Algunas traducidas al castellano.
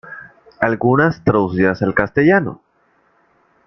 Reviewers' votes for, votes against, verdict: 2, 0, accepted